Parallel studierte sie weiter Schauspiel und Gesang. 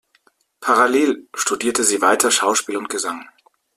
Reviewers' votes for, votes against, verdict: 2, 0, accepted